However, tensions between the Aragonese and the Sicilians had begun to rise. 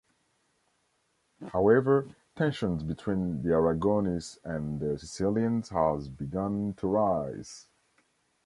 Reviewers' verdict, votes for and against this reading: rejected, 1, 2